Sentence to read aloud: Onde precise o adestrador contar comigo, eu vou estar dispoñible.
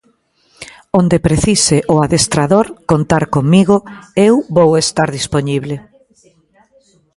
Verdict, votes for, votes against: rejected, 1, 2